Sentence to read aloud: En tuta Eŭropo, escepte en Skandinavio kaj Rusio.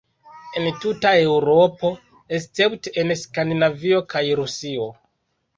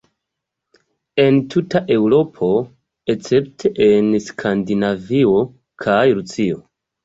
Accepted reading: first